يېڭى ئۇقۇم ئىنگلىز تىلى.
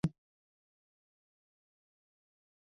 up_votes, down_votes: 0, 2